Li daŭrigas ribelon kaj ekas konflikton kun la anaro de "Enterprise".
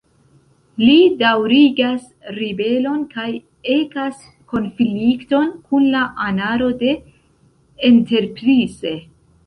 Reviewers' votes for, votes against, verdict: 1, 2, rejected